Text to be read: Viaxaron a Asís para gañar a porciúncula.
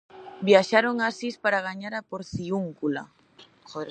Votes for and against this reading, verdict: 0, 2, rejected